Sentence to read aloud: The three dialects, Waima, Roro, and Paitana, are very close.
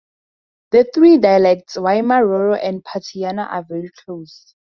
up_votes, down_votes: 0, 2